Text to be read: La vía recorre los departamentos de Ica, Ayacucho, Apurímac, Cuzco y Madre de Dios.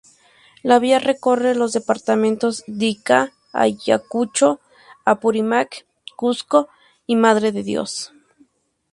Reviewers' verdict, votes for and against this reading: rejected, 2, 2